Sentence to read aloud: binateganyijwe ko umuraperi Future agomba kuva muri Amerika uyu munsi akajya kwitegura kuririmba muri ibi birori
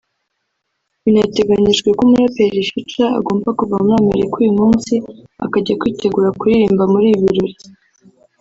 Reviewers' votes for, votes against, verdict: 1, 2, rejected